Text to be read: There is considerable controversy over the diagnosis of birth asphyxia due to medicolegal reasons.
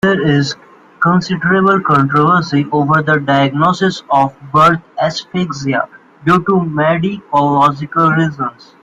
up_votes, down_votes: 0, 2